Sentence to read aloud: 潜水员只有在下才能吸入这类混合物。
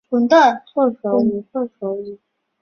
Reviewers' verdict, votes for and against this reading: rejected, 2, 3